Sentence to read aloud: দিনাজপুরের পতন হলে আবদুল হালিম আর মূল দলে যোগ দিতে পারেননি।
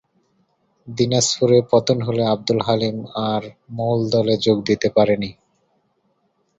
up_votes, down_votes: 6, 4